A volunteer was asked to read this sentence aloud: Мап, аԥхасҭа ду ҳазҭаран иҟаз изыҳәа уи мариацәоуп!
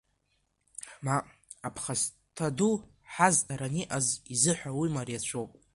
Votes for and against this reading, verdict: 1, 2, rejected